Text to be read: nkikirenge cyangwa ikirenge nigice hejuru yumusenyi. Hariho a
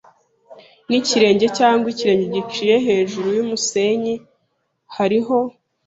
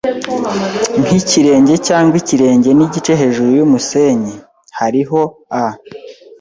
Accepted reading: second